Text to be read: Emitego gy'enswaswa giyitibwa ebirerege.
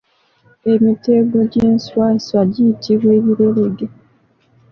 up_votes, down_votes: 0, 2